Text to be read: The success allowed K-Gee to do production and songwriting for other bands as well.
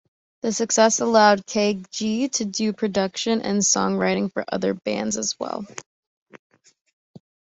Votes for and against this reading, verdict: 3, 0, accepted